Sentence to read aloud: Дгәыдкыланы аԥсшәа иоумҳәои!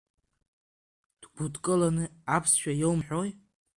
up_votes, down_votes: 0, 2